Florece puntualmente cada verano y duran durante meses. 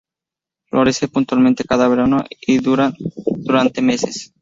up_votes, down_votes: 0, 2